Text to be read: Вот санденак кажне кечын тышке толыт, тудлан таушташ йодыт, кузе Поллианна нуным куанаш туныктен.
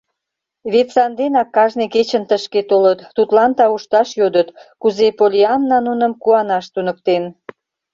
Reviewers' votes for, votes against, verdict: 0, 2, rejected